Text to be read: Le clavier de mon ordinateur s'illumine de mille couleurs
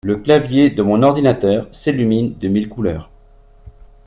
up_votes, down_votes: 3, 0